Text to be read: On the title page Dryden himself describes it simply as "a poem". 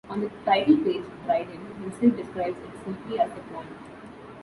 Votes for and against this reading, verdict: 0, 2, rejected